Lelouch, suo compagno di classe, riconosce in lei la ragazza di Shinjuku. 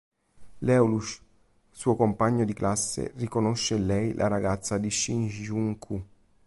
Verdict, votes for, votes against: rejected, 1, 2